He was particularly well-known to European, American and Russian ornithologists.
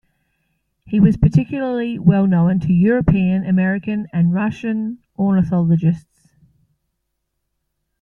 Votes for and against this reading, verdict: 2, 0, accepted